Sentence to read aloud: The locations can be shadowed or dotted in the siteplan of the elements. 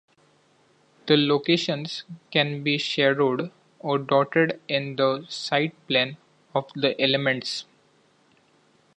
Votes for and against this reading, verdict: 2, 0, accepted